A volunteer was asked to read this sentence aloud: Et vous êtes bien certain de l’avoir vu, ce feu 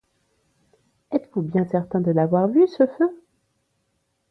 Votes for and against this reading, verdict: 1, 2, rejected